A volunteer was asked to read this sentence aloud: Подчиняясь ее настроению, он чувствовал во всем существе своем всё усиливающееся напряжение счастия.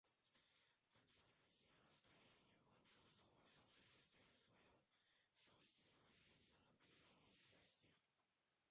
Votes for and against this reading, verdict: 0, 2, rejected